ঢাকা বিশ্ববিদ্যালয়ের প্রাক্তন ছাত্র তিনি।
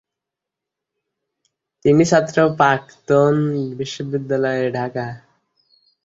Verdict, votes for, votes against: rejected, 0, 2